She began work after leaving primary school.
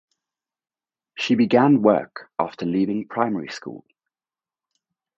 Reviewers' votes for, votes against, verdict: 4, 0, accepted